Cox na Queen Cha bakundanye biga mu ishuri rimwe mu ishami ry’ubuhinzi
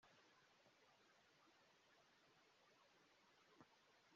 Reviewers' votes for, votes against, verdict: 0, 2, rejected